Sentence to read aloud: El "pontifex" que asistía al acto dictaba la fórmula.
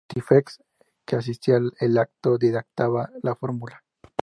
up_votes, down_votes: 0, 2